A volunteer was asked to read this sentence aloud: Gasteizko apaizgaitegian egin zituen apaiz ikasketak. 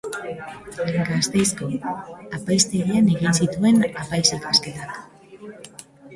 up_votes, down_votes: 2, 2